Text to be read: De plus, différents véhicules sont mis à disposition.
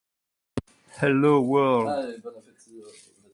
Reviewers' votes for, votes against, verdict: 0, 2, rejected